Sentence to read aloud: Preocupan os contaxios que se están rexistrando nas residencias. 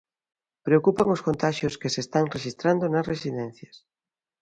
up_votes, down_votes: 2, 0